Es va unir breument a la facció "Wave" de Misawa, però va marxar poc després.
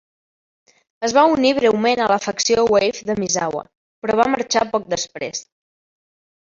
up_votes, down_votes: 2, 1